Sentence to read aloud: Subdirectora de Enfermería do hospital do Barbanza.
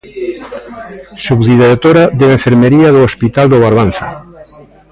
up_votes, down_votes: 1, 2